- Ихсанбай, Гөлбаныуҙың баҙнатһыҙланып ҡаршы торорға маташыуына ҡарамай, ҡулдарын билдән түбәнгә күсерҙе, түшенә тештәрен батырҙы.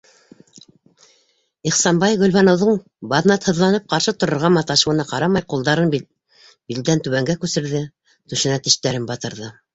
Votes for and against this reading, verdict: 0, 2, rejected